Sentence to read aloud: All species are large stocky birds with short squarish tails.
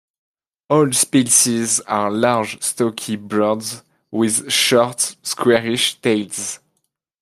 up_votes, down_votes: 1, 2